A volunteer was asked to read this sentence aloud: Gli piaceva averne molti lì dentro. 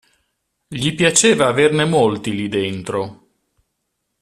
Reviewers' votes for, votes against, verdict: 2, 0, accepted